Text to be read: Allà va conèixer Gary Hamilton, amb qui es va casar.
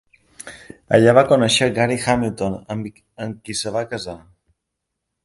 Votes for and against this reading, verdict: 1, 2, rejected